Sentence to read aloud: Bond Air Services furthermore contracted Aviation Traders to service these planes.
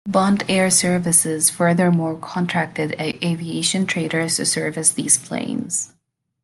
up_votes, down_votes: 1, 2